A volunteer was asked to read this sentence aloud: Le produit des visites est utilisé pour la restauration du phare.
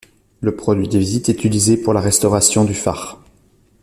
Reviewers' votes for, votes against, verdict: 1, 2, rejected